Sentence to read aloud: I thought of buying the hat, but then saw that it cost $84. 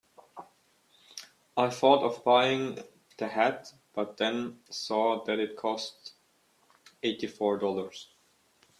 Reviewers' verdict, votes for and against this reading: rejected, 0, 2